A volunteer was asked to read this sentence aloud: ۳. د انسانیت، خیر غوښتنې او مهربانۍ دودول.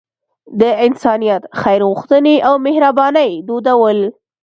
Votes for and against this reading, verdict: 0, 2, rejected